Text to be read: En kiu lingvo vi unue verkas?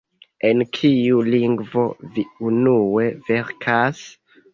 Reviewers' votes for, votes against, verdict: 2, 1, accepted